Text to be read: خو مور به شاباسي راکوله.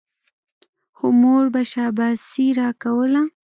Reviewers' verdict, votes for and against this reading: accepted, 2, 0